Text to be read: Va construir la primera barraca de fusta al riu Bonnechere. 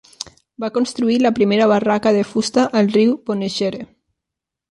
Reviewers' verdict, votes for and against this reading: rejected, 1, 2